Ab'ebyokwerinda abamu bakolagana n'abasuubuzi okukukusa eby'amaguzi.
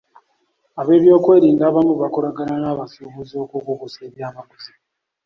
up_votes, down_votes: 2, 1